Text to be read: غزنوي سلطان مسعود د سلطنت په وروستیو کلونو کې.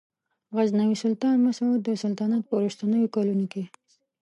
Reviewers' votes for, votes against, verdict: 0, 2, rejected